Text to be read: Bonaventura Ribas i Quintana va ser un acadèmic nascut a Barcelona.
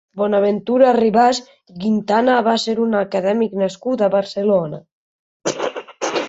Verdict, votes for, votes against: accepted, 2, 1